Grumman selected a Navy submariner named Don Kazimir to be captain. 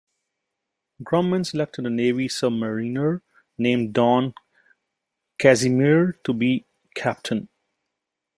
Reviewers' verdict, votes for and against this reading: accepted, 2, 1